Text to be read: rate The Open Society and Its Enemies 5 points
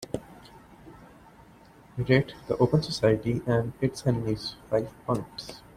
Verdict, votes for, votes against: rejected, 0, 2